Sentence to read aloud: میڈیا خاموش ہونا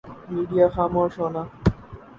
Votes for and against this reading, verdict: 2, 2, rejected